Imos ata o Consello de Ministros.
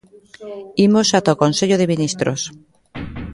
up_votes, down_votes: 0, 2